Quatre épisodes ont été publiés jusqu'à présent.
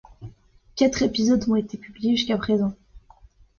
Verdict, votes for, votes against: accepted, 2, 0